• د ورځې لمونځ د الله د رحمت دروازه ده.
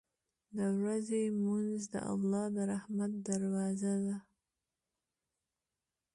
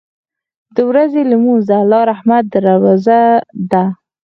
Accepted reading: first